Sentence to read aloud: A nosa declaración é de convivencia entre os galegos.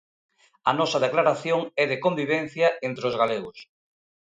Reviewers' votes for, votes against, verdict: 2, 0, accepted